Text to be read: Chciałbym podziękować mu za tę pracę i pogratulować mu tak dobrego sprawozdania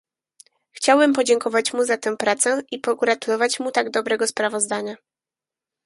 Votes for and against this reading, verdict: 2, 4, rejected